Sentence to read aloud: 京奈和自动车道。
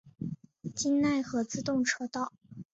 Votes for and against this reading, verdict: 5, 0, accepted